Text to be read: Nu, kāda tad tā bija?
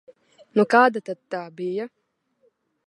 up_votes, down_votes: 2, 0